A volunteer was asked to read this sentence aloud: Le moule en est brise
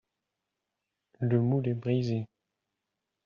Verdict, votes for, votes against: rejected, 0, 2